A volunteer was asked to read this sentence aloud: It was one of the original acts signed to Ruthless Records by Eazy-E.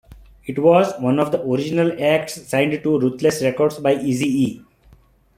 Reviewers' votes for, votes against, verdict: 1, 2, rejected